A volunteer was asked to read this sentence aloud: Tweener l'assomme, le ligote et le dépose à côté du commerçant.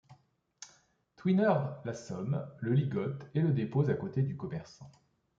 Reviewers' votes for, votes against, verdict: 2, 0, accepted